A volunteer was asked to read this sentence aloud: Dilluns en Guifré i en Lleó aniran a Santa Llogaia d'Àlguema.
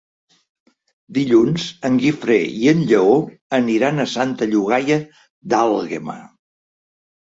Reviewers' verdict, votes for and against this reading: accepted, 3, 0